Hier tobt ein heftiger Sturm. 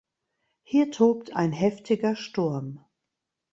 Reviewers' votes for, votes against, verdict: 2, 0, accepted